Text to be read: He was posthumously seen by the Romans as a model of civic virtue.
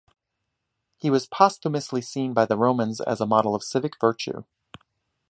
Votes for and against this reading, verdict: 2, 0, accepted